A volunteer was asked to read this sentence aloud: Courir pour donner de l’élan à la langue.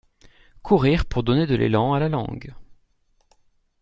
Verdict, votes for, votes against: accepted, 2, 0